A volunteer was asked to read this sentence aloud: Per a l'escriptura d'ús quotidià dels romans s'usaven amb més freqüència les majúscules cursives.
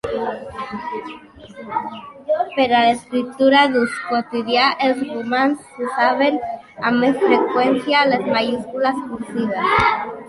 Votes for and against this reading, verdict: 0, 2, rejected